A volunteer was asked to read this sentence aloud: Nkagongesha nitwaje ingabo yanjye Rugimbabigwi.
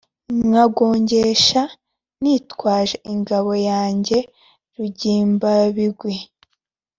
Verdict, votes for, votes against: accepted, 2, 0